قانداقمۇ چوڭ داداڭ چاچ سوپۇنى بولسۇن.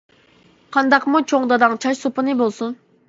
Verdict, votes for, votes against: accepted, 2, 0